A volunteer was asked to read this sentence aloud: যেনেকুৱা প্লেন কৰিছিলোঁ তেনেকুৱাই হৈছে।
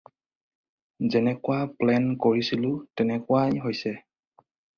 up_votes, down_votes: 4, 0